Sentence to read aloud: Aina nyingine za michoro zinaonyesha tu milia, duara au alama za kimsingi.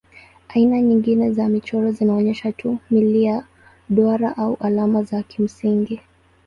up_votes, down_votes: 2, 0